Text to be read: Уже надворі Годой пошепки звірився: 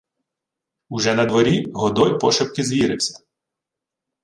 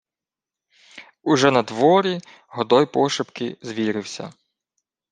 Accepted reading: second